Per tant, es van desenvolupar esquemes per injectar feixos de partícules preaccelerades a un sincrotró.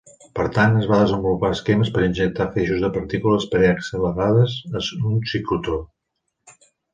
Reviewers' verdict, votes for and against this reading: rejected, 1, 2